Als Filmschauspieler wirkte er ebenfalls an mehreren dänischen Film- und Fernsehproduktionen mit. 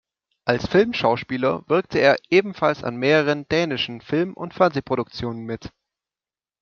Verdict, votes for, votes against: accepted, 2, 0